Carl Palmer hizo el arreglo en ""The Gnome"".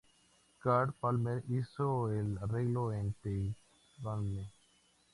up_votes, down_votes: 0, 2